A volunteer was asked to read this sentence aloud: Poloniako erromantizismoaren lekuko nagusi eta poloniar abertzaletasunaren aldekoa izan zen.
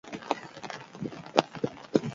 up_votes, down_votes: 0, 6